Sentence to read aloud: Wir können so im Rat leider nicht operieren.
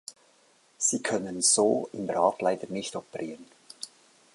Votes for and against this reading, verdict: 1, 3, rejected